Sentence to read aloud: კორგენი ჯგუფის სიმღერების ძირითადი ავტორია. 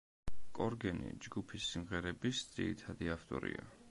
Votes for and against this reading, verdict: 2, 0, accepted